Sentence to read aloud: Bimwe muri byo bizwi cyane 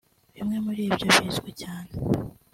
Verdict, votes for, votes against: accepted, 2, 1